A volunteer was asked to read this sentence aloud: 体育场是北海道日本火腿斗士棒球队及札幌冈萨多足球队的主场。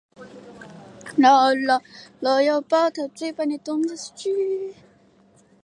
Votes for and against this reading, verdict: 0, 2, rejected